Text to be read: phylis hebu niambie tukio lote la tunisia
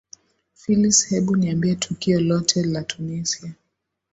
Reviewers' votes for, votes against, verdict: 2, 1, accepted